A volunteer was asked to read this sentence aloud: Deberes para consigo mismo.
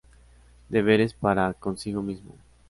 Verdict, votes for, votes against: accepted, 2, 0